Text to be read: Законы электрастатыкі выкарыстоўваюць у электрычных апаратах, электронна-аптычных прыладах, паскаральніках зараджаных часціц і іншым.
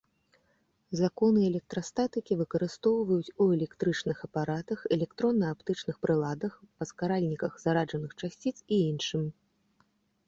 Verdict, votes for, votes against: accepted, 3, 0